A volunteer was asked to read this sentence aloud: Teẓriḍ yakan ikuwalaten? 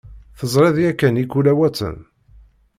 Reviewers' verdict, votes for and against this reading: rejected, 0, 2